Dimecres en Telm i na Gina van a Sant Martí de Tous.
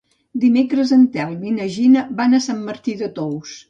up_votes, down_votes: 2, 0